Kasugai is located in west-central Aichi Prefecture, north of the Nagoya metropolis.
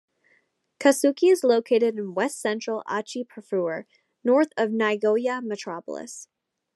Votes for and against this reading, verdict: 2, 0, accepted